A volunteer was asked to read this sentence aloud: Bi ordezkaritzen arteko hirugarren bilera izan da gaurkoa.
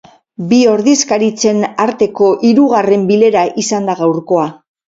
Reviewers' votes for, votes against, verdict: 0, 4, rejected